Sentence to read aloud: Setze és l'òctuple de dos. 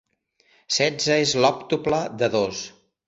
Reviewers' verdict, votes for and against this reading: accepted, 2, 0